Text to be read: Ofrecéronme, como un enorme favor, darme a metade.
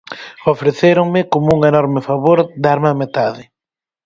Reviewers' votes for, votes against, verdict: 4, 0, accepted